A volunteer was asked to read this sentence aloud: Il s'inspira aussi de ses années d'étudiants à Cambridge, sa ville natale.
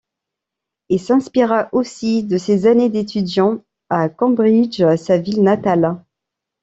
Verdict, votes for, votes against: accepted, 2, 0